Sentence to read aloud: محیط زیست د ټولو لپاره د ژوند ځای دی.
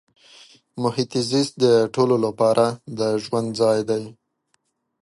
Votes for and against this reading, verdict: 1, 2, rejected